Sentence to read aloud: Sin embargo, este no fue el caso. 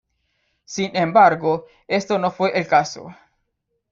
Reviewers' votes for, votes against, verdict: 1, 2, rejected